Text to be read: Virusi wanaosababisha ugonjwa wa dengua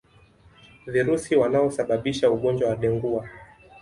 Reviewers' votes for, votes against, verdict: 2, 0, accepted